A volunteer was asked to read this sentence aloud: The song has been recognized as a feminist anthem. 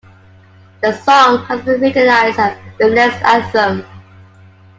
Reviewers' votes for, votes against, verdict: 0, 2, rejected